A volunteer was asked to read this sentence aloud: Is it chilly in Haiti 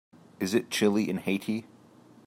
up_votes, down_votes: 2, 0